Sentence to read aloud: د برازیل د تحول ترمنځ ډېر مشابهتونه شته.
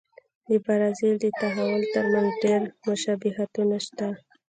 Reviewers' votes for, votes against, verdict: 1, 2, rejected